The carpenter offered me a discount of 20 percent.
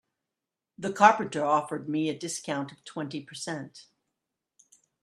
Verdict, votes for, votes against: rejected, 0, 2